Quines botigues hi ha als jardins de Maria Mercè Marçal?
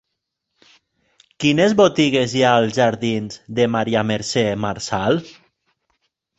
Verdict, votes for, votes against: accepted, 3, 0